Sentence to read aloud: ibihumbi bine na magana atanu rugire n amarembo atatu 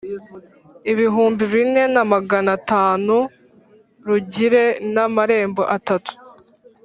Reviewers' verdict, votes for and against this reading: accepted, 3, 0